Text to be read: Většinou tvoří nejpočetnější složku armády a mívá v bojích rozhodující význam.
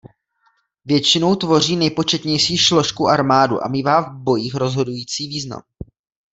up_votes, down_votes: 0, 2